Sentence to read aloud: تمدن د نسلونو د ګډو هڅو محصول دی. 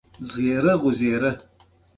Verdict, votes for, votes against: rejected, 1, 2